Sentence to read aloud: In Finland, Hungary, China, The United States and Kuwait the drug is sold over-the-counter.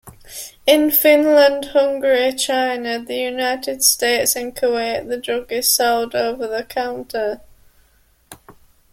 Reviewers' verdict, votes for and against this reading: accepted, 2, 0